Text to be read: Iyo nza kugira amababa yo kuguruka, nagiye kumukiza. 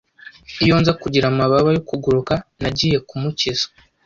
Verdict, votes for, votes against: accepted, 2, 0